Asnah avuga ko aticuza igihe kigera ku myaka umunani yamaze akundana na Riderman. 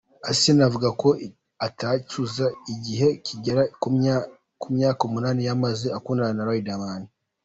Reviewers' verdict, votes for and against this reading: rejected, 1, 2